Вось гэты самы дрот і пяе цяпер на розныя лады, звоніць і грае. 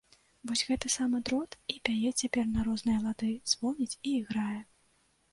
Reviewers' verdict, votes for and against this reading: rejected, 0, 2